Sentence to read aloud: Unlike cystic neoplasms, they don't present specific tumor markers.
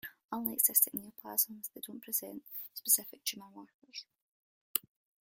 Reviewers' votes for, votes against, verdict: 2, 0, accepted